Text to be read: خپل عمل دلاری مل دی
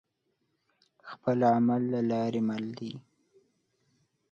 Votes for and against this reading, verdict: 2, 0, accepted